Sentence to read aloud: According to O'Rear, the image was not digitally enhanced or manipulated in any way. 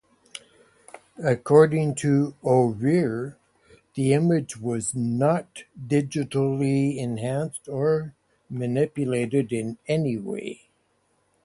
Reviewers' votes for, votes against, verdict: 2, 0, accepted